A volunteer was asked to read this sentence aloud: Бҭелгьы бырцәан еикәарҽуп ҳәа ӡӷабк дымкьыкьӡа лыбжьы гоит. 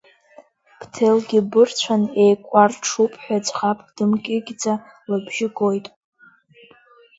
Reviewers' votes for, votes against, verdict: 2, 0, accepted